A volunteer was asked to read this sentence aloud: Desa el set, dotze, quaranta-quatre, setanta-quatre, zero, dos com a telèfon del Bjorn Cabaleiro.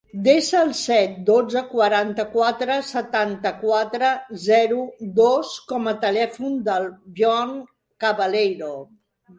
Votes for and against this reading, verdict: 2, 0, accepted